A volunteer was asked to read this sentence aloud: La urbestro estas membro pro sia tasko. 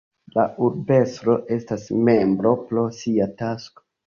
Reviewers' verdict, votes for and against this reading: rejected, 2, 3